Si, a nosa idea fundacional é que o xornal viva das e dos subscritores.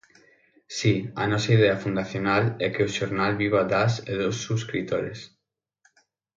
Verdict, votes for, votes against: accepted, 6, 0